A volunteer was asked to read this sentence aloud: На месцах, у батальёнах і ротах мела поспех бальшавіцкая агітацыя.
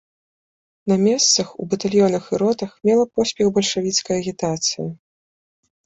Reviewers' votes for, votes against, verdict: 2, 0, accepted